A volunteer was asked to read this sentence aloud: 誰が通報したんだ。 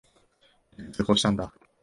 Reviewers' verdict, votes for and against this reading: rejected, 0, 2